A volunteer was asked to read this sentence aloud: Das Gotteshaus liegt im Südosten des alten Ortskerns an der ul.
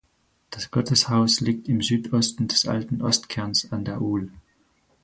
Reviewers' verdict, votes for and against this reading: rejected, 0, 4